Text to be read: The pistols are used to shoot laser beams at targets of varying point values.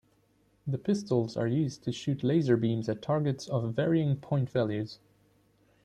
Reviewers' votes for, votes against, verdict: 2, 0, accepted